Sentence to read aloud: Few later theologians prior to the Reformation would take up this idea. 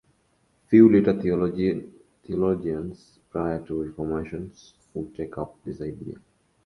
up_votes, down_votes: 0, 2